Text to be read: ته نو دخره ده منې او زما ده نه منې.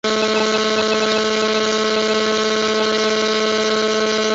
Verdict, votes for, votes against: rejected, 0, 3